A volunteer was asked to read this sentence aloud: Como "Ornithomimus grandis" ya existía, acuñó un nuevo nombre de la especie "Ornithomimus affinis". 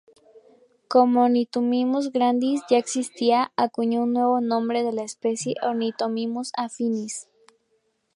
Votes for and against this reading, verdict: 0, 2, rejected